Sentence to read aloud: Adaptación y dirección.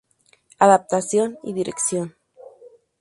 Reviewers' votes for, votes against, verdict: 4, 0, accepted